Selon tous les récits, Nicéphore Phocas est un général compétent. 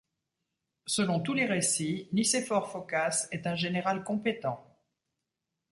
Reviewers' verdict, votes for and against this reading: accepted, 2, 1